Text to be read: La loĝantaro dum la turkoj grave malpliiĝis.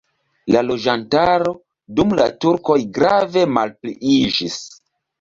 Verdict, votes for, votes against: accepted, 2, 0